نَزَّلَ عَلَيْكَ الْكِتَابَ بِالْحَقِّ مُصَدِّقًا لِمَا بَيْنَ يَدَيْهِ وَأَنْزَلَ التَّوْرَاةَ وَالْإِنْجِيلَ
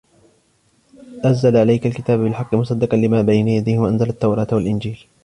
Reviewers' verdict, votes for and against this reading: rejected, 1, 2